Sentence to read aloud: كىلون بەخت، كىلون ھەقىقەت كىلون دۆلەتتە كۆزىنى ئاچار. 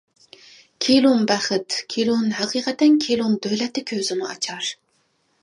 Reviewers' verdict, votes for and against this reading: rejected, 0, 2